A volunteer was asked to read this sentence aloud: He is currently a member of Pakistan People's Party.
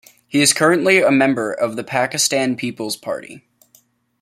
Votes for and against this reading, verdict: 1, 2, rejected